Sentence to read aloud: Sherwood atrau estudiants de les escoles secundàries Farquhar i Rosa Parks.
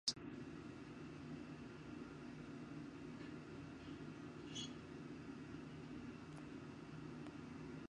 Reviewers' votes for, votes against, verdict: 0, 2, rejected